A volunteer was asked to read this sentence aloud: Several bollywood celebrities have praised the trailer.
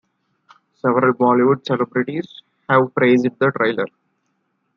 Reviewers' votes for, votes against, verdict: 2, 0, accepted